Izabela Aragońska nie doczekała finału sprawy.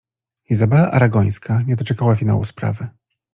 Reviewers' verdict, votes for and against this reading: accepted, 2, 0